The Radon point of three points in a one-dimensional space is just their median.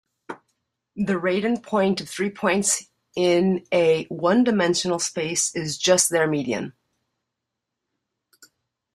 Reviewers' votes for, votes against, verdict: 2, 1, accepted